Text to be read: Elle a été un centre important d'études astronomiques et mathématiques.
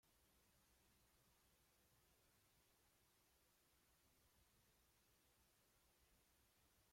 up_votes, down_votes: 0, 2